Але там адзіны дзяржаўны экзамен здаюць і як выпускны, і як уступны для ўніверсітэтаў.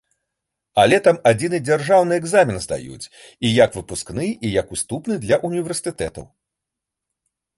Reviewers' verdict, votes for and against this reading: rejected, 1, 2